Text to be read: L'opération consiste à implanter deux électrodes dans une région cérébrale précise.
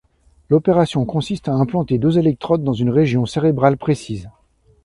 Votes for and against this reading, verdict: 2, 0, accepted